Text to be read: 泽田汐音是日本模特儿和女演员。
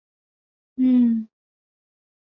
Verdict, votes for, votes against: rejected, 0, 5